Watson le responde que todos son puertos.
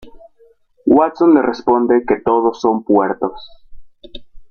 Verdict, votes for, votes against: rejected, 1, 2